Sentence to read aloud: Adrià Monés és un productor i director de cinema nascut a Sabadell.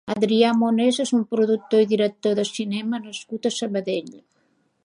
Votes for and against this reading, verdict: 3, 0, accepted